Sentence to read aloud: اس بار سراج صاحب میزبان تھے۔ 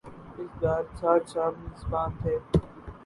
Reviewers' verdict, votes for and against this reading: rejected, 2, 4